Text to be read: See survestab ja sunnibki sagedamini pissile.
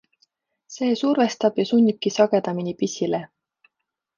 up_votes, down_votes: 2, 0